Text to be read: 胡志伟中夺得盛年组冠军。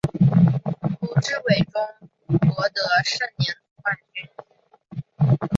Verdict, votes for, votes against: rejected, 1, 2